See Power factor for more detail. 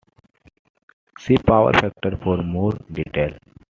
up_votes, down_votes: 2, 0